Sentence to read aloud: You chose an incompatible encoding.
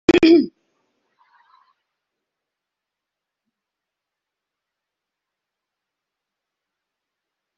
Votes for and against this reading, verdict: 0, 2, rejected